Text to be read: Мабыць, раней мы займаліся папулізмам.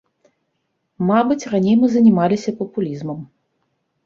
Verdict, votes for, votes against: rejected, 0, 2